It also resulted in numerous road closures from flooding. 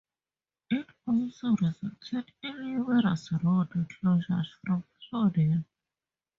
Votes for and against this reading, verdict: 0, 2, rejected